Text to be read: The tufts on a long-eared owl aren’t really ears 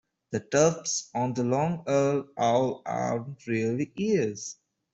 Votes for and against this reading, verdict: 0, 2, rejected